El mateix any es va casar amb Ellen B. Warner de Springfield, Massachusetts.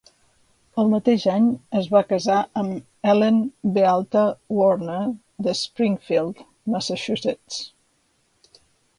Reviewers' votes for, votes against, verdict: 2, 1, accepted